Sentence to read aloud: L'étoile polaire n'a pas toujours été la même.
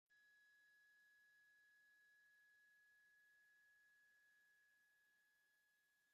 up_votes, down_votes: 0, 2